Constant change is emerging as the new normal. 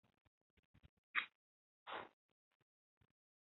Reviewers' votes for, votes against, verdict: 0, 2, rejected